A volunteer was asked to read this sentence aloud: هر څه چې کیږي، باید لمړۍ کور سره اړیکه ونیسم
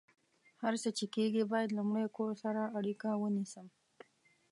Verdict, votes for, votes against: accepted, 2, 0